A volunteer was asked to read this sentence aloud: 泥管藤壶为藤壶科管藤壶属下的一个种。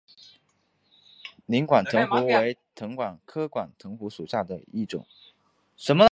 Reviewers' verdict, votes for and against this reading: accepted, 2, 0